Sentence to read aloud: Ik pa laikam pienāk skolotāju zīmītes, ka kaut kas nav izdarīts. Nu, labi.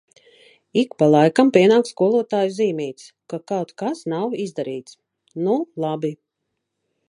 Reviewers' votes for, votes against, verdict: 2, 0, accepted